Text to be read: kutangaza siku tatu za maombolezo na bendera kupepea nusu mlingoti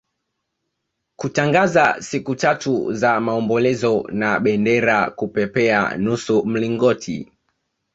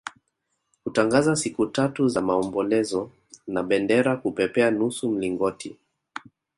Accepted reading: first